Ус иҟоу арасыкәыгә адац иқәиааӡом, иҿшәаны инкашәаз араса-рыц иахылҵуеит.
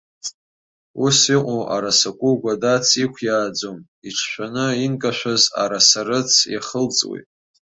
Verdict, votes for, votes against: accepted, 2, 0